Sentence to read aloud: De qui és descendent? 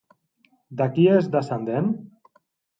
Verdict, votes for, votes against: accepted, 2, 0